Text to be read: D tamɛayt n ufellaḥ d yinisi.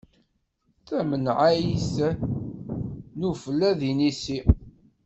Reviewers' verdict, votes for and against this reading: rejected, 0, 2